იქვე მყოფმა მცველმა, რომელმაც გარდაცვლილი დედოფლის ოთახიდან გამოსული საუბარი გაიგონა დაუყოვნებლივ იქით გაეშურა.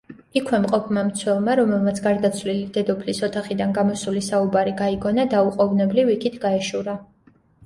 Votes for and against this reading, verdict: 2, 0, accepted